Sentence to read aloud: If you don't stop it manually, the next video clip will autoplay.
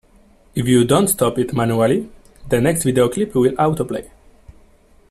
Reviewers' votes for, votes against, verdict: 2, 0, accepted